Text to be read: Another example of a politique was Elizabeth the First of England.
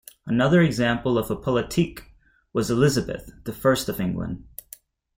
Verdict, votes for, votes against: accepted, 2, 0